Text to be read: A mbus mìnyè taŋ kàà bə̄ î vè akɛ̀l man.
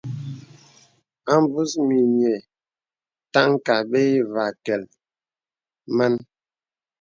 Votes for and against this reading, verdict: 2, 0, accepted